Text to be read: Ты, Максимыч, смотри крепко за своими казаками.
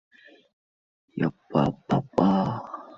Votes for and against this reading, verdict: 0, 2, rejected